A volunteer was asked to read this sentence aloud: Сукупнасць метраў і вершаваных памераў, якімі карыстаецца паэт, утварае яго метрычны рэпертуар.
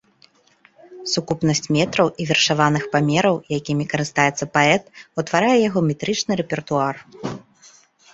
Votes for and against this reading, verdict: 3, 0, accepted